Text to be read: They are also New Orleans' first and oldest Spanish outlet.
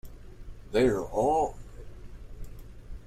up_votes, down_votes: 0, 2